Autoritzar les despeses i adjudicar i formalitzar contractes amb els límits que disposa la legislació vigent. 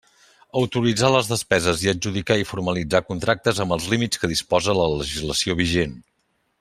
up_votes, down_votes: 2, 0